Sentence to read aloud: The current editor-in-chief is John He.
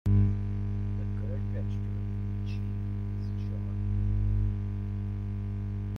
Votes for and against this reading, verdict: 0, 2, rejected